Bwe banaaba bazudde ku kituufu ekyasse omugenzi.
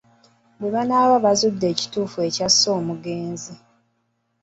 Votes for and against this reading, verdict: 0, 2, rejected